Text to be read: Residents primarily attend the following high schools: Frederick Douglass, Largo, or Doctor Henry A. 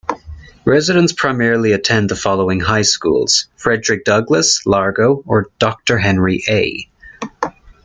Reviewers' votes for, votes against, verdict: 2, 1, accepted